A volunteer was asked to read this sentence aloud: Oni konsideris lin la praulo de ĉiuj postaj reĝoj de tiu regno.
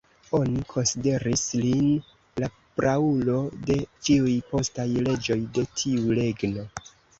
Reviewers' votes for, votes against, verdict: 0, 2, rejected